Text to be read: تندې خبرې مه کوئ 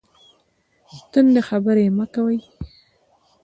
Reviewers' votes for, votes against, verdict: 2, 0, accepted